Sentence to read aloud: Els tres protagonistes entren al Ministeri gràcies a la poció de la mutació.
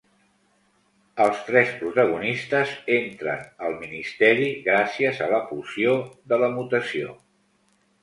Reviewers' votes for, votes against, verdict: 2, 0, accepted